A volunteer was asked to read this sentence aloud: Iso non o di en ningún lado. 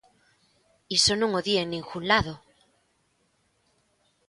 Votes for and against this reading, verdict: 2, 0, accepted